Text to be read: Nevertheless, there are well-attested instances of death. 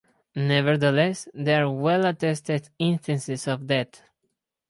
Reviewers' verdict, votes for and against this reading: rejected, 0, 2